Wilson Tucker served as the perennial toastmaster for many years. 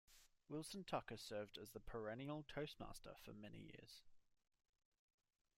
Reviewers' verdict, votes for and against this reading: rejected, 1, 2